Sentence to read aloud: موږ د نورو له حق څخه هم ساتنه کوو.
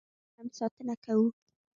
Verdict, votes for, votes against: rejected, 0, 2